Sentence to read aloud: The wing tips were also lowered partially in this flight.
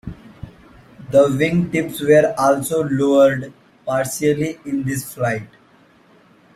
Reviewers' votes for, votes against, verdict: 2, 0, accepted